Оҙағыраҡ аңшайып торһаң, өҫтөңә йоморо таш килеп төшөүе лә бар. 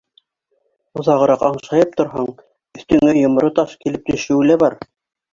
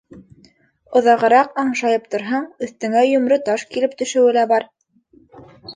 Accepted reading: second